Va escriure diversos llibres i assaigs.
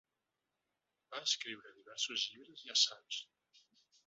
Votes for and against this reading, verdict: 1, 2, rejected